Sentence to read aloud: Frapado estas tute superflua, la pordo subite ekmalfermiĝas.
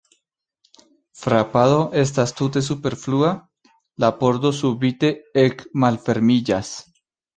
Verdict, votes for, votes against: accepted, 2, 0